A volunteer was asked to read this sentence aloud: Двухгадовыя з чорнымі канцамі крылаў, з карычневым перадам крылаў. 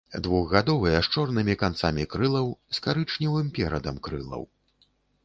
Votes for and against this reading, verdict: 2, 0, accepted